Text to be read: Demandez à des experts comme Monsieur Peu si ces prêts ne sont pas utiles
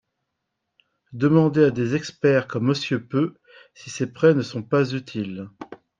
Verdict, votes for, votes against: accepted, 2, 0